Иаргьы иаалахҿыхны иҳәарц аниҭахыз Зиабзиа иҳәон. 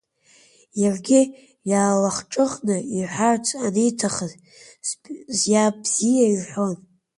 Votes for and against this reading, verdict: 1, 2, rejected